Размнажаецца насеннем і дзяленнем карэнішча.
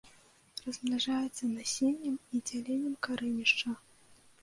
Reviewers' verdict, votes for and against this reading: accepted, 2, 0